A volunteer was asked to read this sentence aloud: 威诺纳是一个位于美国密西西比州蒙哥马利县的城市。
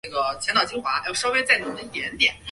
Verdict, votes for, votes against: rejected, 0, 2